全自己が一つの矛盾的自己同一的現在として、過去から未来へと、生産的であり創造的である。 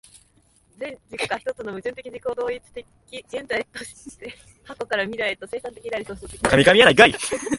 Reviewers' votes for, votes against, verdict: 0, 3, rejected